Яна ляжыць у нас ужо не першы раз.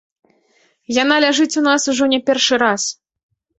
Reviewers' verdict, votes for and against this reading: accepted, 2, 0